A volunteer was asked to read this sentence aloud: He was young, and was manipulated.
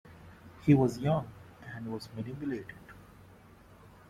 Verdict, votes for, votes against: rejected, 1, 2